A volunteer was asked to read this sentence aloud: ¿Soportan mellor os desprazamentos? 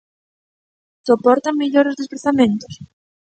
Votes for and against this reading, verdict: 2, 1, accepted